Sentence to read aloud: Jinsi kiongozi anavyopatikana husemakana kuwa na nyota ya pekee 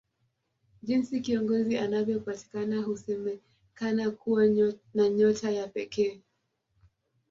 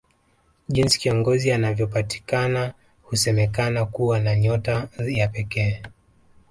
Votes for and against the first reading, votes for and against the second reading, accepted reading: 2, 1, 1, 2, first